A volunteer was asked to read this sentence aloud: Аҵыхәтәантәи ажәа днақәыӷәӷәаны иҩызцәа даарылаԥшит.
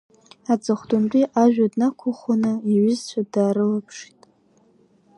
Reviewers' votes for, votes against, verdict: 2, 0, accepted